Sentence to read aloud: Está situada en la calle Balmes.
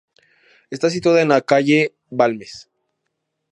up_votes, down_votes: 2, 0